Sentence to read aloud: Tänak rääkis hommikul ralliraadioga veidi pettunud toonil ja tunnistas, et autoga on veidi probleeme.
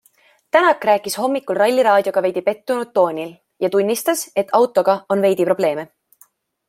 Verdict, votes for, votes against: accepted, 2, 0